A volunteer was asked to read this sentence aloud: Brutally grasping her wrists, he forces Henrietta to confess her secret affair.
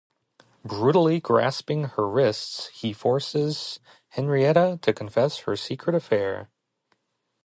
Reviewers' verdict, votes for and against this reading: accepted, 2, 0